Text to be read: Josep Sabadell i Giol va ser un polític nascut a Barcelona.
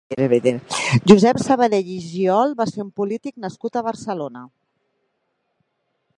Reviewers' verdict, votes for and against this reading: rejected, 0, 2